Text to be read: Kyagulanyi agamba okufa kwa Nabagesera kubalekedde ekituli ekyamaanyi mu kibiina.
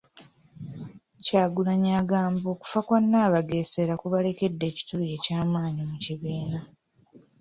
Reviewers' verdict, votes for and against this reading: accepted, 2, 1